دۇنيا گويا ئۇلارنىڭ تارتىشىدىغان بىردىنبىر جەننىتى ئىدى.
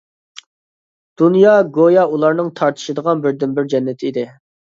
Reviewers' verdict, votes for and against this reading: accepted, 2, 0